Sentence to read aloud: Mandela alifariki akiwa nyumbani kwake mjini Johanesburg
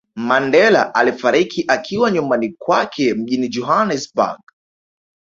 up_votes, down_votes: 2, 0